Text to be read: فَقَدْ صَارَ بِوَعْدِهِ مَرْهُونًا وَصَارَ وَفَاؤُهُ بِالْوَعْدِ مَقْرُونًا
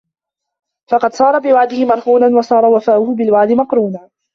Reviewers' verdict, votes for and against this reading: rejected, 1, 2